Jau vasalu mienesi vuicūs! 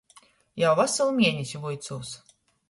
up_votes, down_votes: 2, 0